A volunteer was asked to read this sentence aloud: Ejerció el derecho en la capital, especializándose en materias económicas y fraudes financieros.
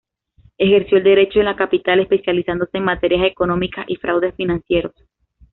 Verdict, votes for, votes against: accepted, 2, 0